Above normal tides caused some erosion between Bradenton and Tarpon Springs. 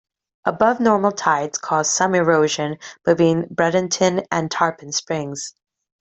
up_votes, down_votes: 2, 1